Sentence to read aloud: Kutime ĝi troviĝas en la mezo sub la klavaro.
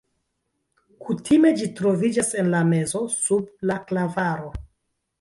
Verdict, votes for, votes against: accepted, 2, 1